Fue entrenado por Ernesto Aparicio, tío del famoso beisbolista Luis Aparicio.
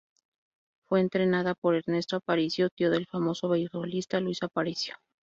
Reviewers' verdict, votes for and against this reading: rejected, 0, 4